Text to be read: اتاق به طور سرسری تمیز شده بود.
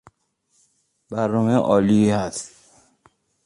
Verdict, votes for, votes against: rejected, 0, 2